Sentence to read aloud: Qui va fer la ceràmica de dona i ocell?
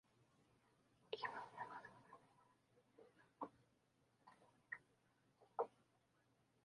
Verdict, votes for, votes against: rejected, 0, 2